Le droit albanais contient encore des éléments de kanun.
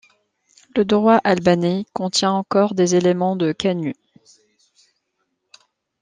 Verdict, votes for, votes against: rejected, 0, 2